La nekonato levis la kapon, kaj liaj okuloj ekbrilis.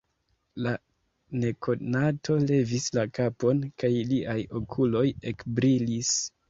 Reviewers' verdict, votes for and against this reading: rejected, 1, 2